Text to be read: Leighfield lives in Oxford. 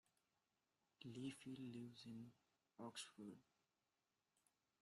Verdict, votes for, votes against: rejected, 0, 2